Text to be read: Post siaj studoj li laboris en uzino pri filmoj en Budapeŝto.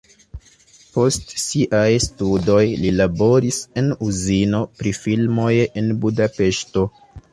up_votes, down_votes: 2, 0